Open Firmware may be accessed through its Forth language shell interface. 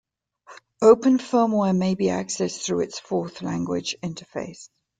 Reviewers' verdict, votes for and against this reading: rejected, 1, 2